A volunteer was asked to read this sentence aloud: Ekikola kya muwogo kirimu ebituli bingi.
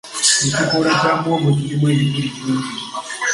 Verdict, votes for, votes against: rejected, 1, 2